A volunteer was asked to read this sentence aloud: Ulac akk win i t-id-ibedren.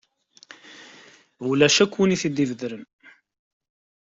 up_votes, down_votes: 2, 0